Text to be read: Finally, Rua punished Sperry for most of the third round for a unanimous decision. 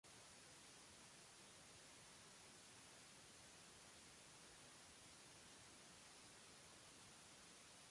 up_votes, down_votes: 0, 2